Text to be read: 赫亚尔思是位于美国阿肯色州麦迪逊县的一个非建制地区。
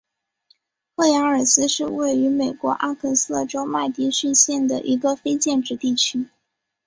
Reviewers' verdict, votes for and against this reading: accepted, 4, 0